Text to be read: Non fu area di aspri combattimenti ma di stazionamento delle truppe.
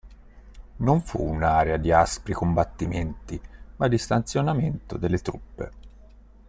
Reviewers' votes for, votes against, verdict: 1, 2, rejected